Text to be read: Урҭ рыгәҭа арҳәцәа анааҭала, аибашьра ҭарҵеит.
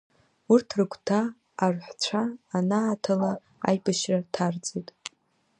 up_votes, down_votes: 2, 1